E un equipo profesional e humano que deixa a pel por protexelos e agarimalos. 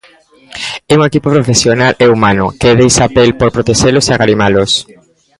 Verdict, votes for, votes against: rejected, 0, 2